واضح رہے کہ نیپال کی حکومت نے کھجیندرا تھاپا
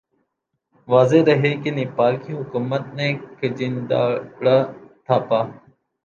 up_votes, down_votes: 2, 0